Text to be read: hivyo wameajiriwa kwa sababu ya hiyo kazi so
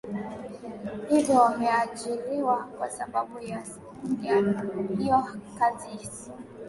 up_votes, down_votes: 2, 1